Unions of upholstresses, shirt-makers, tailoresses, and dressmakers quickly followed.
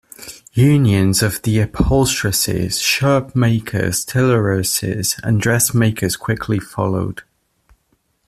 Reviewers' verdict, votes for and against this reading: rejected, 0, 2